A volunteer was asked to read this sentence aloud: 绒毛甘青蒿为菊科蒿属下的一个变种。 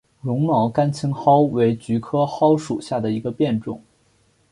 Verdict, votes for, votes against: accepted, 5, 0